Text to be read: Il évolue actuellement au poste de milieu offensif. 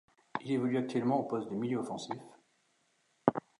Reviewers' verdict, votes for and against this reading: rejected, 0, 2